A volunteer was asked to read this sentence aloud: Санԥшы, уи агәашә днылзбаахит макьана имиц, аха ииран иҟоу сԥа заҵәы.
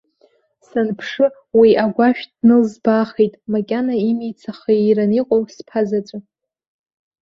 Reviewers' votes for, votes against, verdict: 2, 0, accepted